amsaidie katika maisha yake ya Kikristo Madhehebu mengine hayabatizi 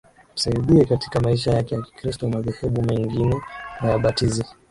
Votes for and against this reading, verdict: 2, 1, accepted